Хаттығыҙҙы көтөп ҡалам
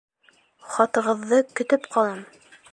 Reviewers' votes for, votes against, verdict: 1, 2, rejected